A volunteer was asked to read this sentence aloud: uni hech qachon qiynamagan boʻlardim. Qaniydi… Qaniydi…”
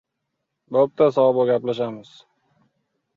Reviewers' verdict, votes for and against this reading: rejected, 0, 2